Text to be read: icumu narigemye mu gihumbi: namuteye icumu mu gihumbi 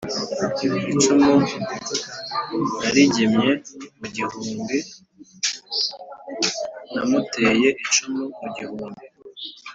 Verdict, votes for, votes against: accepted, 2, 0